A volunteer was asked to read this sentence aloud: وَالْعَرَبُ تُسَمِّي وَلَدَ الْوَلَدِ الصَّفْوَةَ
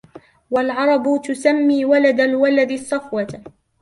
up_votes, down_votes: 2, 0